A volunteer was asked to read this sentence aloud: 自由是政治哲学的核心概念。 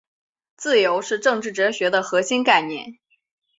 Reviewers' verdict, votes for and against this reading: accepted, 2, 0